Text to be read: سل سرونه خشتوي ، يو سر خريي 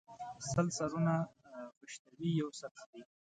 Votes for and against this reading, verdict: 2, 0, accepted